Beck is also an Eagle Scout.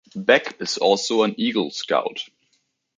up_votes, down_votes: 2, 0